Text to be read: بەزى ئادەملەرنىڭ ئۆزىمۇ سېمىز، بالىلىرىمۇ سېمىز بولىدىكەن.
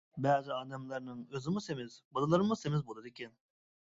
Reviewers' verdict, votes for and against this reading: accepted, 2, 0